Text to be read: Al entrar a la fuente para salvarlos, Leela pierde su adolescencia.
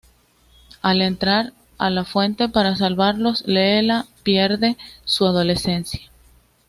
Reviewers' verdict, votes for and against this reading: accepted, 2, 1